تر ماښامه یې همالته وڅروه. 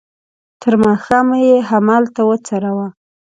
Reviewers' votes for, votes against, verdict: 2, 0, accepted